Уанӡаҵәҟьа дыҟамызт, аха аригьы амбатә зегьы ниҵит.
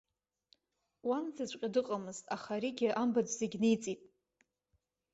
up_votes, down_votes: 2, 0